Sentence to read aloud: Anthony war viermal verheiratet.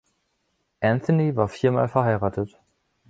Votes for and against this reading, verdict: 2, 0, accepted